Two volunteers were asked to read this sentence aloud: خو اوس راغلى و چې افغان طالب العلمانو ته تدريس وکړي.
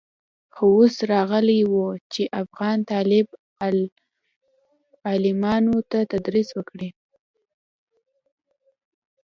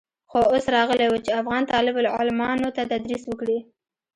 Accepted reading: first